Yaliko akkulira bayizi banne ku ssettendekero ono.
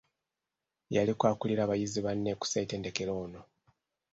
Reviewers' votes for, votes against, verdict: 2, 0, accepted